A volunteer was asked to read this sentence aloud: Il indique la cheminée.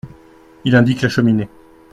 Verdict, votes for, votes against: accepted, 2, 0